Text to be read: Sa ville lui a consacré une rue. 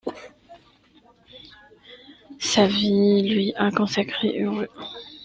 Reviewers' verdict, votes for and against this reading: rejected, 1, 2